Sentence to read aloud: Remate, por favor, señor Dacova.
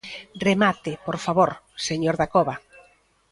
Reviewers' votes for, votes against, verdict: 1, 2, rejected